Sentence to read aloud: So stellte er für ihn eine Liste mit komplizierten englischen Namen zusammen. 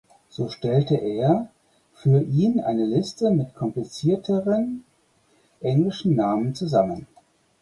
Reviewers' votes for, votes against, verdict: 2, 4, rejected